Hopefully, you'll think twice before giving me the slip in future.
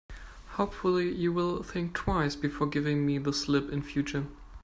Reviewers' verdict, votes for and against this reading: rejected, 1, 2